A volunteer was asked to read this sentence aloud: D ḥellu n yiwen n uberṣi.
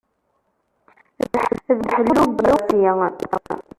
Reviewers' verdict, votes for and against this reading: rejected, 0, 2